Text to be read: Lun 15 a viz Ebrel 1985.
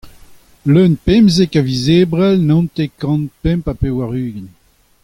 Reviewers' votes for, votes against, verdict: 0, 2, rejected